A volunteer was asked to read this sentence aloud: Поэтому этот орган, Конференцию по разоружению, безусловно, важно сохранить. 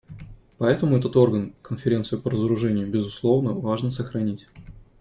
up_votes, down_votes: 2, 0